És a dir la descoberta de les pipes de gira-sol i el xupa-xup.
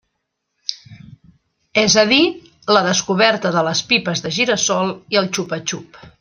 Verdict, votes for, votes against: accepted, 2, 0